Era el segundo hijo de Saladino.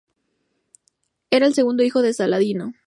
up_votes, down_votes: 2, 0